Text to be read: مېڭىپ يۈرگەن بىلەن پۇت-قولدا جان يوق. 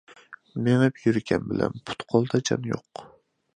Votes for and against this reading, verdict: 2, 0, accepted